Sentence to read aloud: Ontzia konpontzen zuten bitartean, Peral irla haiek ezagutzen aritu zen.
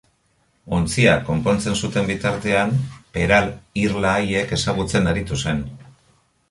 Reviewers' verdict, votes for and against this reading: accepted, 2, 0